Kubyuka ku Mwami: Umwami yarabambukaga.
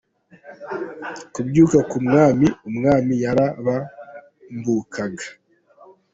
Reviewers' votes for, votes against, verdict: 2, 0, accepted